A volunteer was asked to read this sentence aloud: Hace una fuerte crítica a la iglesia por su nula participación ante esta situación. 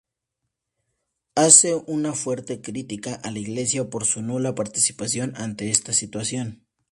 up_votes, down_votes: 0, 2